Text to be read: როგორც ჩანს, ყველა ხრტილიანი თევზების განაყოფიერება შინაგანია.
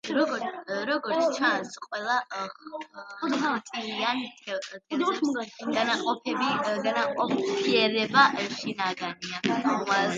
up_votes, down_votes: 0, 2